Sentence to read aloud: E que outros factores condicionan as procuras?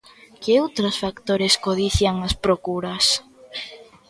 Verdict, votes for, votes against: rejected, 0, 2